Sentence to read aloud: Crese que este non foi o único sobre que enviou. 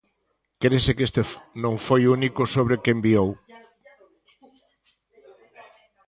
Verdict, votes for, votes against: rejected, 0, 2